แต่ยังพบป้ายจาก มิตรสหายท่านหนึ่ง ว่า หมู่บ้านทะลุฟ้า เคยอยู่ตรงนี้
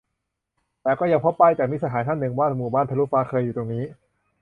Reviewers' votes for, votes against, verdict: 0, 2, rejected